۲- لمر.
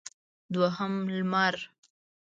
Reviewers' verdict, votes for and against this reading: rejected, 0, 2